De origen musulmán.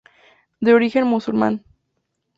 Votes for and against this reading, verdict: 2, 0, accepted